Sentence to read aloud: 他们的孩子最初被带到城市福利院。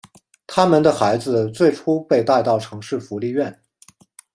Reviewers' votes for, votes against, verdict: 2, 1, accepted